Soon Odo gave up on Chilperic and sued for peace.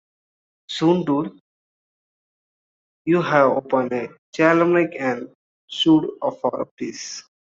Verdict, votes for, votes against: rejected, 0, 2